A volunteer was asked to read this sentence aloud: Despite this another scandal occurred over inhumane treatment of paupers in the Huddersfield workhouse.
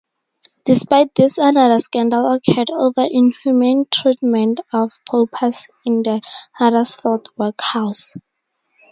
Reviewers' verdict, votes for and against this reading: accepted, 4, 0